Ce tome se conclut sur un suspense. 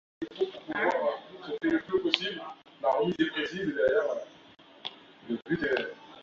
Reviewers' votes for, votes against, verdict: 0, 2, rejected